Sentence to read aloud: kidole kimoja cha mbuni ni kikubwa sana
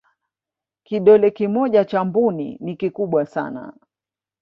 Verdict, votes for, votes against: rejected, 2, 3